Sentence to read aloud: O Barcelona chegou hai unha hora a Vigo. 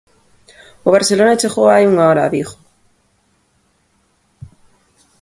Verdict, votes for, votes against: accepted, 3, 0